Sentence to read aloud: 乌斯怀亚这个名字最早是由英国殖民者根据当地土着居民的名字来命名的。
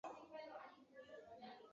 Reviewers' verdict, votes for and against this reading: rejected, 1, 3